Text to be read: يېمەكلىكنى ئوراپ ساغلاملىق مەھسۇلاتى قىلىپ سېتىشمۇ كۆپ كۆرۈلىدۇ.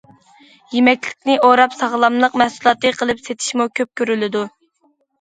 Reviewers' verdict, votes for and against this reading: accepted, 2, 0